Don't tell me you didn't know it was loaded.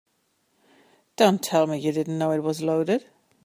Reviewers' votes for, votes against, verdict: 3, 0, accepted